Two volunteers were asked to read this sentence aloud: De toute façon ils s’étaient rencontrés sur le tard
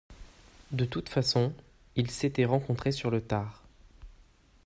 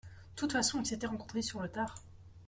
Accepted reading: first